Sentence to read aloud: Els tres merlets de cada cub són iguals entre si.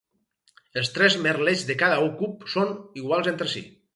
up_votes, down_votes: 0, 2